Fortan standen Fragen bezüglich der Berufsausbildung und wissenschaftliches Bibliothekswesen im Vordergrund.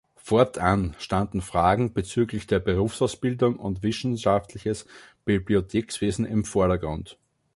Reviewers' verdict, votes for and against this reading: rejected, 0, 2